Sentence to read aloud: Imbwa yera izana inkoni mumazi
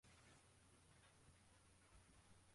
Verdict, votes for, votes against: rejected, 0, 2